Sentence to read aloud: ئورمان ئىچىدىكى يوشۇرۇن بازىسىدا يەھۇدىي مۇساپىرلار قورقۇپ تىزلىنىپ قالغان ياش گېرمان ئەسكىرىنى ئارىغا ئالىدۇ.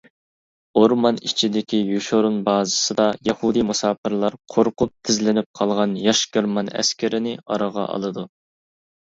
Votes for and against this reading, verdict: 2, 0, accepted